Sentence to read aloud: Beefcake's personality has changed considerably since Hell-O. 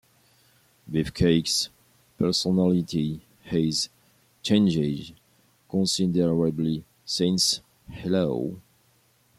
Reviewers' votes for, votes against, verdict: 0, 2, rejected